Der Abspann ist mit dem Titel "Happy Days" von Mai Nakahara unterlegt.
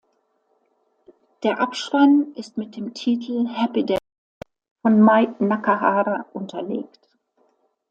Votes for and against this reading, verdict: 0, 2, rejected